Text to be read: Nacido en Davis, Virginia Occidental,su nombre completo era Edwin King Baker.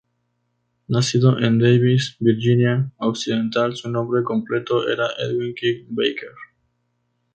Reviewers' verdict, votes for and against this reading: accepted, 2, 0